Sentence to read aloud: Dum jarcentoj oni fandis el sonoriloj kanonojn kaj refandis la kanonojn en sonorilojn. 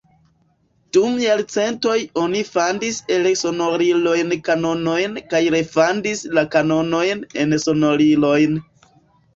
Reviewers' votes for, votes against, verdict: 2, 0, accepted